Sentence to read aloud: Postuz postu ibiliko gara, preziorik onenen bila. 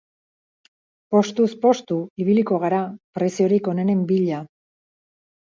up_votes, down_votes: 2, 2